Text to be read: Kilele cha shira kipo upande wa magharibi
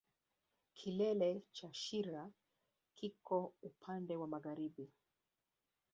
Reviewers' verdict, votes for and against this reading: rejected, 0, 2